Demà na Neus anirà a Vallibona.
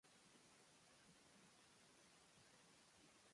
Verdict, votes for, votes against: rejected, 0, 3